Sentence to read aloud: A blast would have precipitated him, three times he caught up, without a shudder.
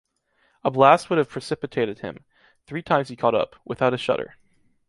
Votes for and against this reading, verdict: 2, 0, accepted